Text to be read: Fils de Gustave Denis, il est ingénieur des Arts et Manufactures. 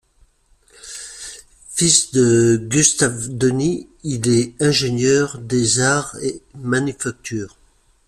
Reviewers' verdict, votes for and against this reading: accepted, 2, 0